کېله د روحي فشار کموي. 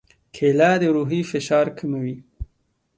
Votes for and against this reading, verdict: 2, 0, accepted